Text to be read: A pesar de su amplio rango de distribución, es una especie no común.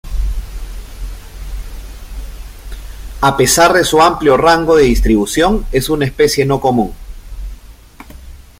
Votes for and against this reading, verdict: 3, 0, accepted